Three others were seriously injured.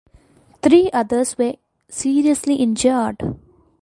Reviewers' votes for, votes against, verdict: 2, 0, accepted